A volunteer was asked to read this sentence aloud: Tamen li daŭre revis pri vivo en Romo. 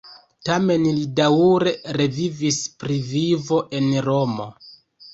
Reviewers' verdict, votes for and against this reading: rejected, 1, 2